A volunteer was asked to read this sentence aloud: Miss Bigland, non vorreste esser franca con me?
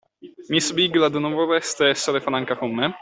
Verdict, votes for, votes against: rejected, 1, 2